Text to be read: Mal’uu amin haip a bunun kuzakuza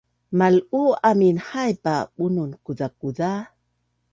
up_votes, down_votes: 2, 0